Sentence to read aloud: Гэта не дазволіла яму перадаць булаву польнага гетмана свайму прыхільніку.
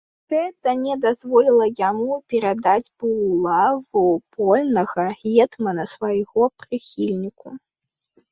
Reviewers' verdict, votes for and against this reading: rejected, 0, 2